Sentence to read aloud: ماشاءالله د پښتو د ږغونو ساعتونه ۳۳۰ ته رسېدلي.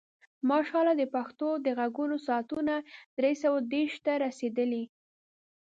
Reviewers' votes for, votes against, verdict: 0, 2, rejected